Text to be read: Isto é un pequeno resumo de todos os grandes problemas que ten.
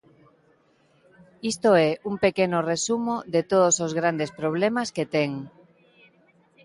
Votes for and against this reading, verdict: 1, 2, rejected